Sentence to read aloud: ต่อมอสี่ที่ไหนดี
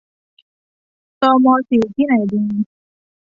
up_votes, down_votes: 1, 2